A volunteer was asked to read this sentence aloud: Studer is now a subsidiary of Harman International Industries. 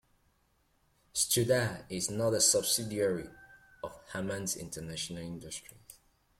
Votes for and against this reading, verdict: 0, 2, rejected